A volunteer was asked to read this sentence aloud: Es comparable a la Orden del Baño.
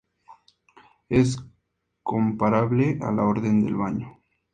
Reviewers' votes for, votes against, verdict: 2, 0, accepted